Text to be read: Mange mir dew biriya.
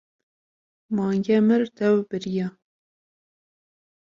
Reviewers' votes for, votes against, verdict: 2, 0, accepted